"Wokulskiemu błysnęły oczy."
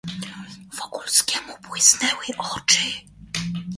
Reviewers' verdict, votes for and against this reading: accepted, 2, 0